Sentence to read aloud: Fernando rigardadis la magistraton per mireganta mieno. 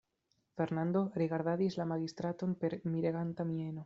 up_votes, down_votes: 2, 0